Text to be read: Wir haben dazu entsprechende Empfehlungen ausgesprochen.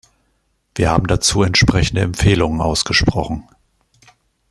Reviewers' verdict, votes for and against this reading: accepted, 3, 0